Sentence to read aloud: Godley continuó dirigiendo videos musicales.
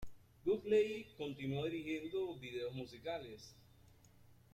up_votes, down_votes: 0, 2